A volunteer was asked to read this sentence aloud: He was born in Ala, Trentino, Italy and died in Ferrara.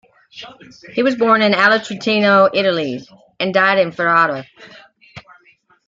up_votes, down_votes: 3, 0